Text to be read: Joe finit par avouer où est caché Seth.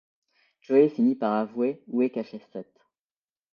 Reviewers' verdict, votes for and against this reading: rejected, 1, 2